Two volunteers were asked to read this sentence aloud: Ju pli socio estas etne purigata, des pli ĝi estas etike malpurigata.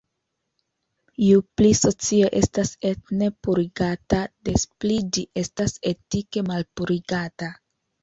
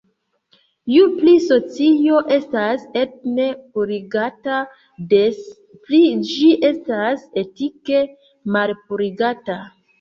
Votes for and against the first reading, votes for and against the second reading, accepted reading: 2, 0, 1, 2, first